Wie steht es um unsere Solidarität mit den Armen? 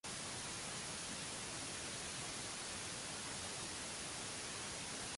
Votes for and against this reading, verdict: 0, 2, rejected